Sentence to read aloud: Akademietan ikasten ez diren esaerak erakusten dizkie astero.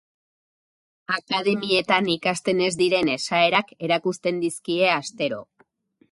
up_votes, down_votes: 0, 2